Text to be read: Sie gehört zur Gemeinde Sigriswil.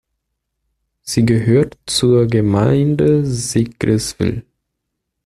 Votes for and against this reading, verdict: 2, 0, accepted